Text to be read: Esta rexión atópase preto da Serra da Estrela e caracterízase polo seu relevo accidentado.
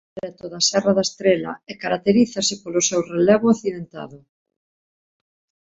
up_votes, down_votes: 1, 2